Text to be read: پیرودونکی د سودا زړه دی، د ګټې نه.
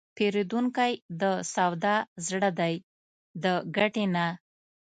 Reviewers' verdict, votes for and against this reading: rejected, 0, 2